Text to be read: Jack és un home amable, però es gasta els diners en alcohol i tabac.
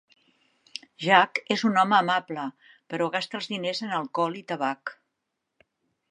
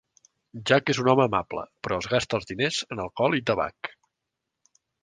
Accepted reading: second